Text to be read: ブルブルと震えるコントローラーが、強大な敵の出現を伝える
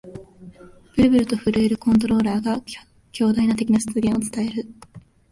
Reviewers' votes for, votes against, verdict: 2, 0, accepted